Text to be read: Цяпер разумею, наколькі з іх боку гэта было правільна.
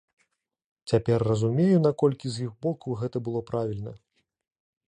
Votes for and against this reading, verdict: 2, 0, accepted